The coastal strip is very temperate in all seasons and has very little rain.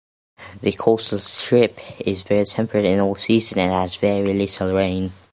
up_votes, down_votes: 2, 0